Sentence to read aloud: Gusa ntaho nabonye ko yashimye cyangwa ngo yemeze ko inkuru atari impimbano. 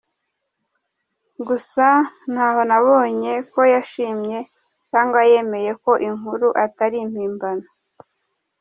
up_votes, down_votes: 0, 2